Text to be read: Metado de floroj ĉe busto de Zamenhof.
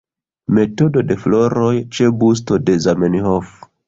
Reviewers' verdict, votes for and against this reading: rejected, 1, 2